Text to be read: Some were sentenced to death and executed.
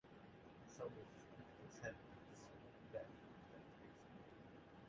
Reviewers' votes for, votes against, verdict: 1, 2, rejected